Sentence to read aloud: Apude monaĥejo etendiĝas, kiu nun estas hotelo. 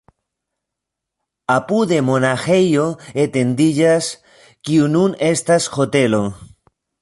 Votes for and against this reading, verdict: 2, 1, accepted